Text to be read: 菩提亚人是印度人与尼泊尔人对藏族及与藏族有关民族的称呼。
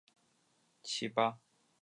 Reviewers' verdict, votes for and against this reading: rejected, 0, 2